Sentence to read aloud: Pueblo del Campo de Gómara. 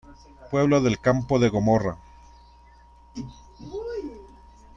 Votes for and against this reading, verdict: 1, 2, rejected